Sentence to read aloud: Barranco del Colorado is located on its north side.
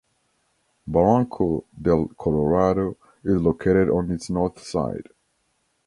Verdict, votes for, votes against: accepted, 2, 0